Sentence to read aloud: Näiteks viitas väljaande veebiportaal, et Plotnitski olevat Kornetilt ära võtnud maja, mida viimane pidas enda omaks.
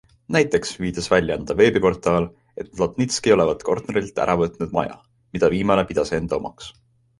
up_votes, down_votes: 2, 0